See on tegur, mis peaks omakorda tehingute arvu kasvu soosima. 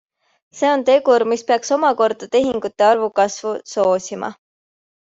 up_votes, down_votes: 2, 0